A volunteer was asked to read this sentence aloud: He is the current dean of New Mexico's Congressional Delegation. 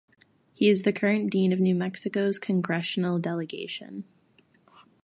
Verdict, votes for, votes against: accepted, 2, 0